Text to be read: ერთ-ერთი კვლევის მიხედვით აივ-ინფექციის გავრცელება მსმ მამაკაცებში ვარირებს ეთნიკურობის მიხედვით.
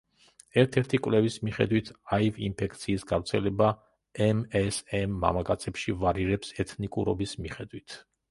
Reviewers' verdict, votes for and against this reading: rejected, 1, 2